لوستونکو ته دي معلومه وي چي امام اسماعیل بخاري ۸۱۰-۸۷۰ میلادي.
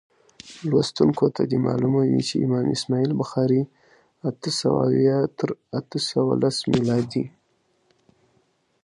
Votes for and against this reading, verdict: 0, 2, rejected